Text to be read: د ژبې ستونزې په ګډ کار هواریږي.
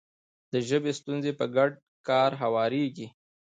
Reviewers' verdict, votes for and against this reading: rejected, 1, 2